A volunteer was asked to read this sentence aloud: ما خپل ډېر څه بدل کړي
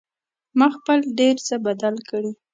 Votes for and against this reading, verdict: 2, 0, accepted